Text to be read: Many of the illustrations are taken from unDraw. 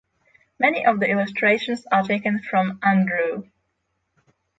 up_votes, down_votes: 3, 6